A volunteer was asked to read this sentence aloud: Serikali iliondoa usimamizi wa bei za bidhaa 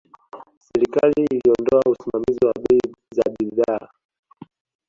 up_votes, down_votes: 2, 1